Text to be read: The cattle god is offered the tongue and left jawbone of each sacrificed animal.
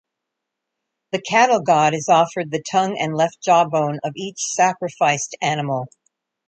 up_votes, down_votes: 2, 0